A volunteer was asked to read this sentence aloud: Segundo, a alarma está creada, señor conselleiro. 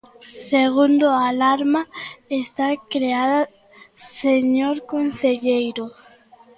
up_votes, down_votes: 0, 2